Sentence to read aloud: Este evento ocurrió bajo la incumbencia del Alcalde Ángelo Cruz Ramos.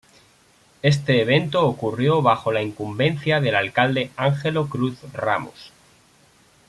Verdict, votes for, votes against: accepted, 2, 1